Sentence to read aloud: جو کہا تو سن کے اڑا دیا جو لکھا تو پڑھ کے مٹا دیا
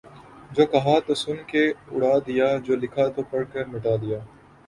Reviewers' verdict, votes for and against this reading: accepted, 2, 0